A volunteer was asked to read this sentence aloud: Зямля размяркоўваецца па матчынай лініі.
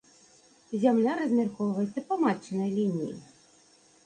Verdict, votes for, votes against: accepted, 2, 0